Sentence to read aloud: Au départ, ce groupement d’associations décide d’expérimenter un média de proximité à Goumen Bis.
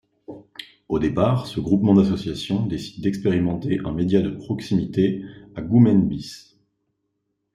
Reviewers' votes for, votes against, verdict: 3, 0, accepted